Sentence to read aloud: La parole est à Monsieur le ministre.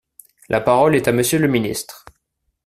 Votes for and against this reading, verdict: 2, 0, accepted